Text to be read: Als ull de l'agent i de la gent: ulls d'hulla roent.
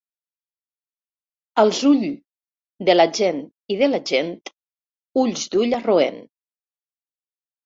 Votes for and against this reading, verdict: 0, 2, rejected